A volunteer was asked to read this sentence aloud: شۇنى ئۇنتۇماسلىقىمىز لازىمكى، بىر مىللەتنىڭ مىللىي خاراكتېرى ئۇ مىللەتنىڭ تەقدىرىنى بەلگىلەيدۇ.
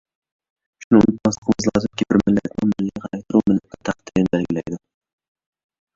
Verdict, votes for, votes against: rejected, 0, 2